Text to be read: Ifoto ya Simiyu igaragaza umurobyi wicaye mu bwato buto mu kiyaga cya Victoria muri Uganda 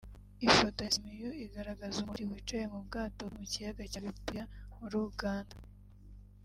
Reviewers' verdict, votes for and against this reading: rejected, 1, 2